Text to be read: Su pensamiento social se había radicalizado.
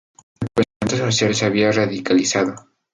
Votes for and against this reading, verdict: 0, 2, rejected